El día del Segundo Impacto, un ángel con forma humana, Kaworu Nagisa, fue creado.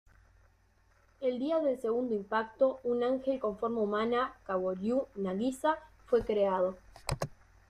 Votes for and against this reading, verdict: 2, 0, accepted